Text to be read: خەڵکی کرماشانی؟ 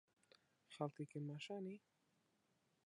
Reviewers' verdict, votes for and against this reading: rejected, 0, 2